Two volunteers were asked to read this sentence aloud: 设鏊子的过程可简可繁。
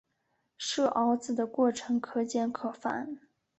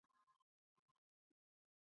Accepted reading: first